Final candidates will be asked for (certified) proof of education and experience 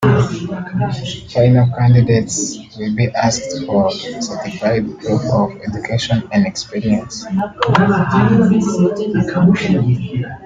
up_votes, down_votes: 1, 2